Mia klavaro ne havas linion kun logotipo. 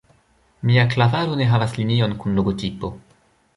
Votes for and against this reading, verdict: 0, 2, rejected